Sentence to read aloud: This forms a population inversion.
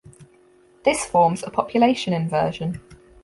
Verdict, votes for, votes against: accepted, 4, 0